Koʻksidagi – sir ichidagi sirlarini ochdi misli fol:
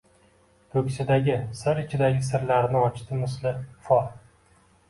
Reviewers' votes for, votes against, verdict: 2, 0, accepted